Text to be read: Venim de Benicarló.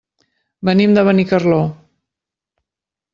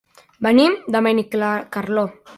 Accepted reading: first